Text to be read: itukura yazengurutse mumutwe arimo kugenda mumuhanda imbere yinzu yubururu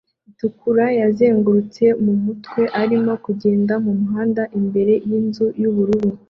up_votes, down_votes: 2, 0